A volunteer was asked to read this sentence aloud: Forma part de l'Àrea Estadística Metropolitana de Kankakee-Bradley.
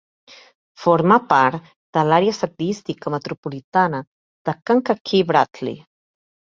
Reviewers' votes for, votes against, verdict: 1, 2, rejected